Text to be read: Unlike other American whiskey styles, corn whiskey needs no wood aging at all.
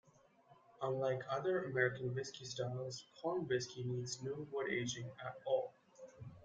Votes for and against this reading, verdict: 2, 1, accepted